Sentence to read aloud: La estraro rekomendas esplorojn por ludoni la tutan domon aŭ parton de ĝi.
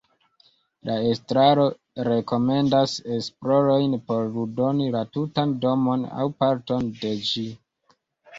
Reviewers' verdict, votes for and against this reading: accepted, 2, 1